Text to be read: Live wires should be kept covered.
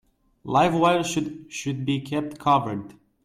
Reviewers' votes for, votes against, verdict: 1, 2, rejected